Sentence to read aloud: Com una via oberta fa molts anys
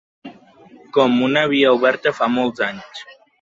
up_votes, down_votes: 2, 0